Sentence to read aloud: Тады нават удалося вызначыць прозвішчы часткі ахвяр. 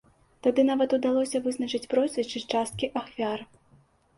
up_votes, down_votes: 2, 0